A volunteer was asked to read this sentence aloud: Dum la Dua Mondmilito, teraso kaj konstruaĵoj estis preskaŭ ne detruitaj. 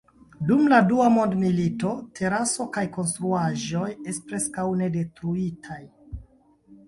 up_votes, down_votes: 0, 2